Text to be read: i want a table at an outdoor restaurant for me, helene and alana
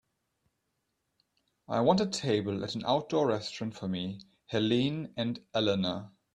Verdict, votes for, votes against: accepted, 2, 0